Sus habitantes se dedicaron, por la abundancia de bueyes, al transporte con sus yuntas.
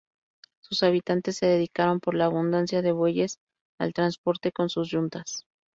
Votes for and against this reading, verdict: 0, 2, rejected